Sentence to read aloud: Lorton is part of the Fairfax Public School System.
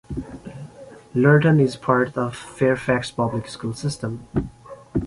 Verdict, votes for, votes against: accepted, 2, 1